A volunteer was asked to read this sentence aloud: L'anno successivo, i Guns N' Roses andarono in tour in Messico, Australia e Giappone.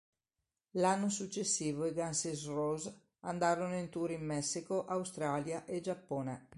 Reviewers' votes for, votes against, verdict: 1, 2, rejected